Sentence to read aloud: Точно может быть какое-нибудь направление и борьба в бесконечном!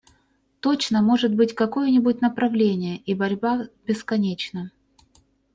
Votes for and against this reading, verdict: 2, 0, accepted